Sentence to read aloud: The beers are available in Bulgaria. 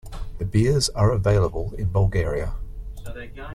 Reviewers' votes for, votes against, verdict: 1, 2, rejected